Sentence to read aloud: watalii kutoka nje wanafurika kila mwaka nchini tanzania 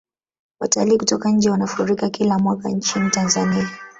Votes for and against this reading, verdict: 0, 2, rejected